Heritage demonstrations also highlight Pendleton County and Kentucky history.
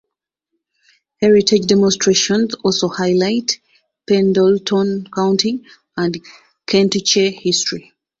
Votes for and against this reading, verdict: 0, 2, rejected